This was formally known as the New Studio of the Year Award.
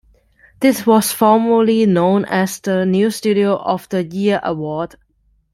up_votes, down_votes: 1, 2